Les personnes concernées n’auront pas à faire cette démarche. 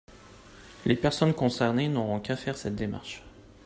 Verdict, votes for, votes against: rejected, 0, 2